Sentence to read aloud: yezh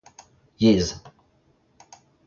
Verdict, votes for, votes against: accepted, 2, 0